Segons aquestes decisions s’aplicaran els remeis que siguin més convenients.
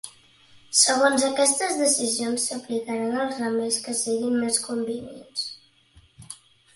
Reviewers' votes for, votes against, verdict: 2, 3, rejected